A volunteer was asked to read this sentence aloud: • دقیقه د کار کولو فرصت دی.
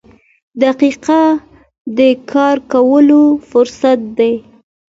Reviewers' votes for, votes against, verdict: 2, 0, accepted